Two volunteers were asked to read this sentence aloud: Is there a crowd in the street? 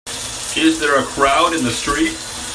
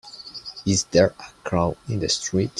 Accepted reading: second